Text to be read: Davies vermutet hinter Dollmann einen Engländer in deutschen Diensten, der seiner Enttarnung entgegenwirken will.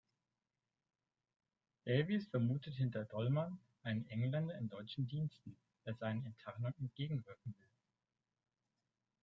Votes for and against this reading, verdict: 0, 2, rejected